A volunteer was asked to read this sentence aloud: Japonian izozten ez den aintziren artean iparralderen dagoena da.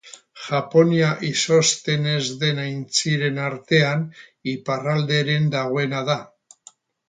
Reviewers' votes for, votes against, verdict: 0, 4, rejected